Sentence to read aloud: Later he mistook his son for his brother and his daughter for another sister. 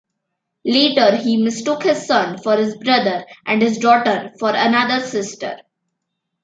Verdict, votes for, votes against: accepted, 2, 0